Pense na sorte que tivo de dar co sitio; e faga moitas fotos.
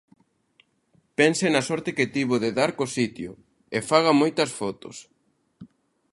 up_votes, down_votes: 2, 0